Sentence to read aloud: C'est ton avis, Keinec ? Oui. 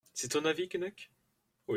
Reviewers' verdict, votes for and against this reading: rejected, 1, 2